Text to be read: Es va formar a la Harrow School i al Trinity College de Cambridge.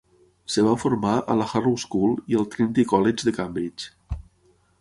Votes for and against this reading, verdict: 0, 6, rejected